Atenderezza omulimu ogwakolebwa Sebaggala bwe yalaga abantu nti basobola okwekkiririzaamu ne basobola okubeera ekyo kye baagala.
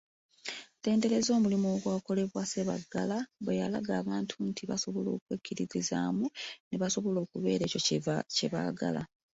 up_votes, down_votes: 0, 2